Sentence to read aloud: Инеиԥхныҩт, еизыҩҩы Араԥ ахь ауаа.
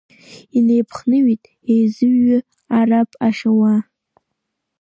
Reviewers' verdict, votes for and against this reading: accepted, 2, 1